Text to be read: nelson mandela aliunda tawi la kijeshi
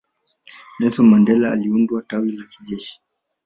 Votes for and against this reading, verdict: 1, 2, rejected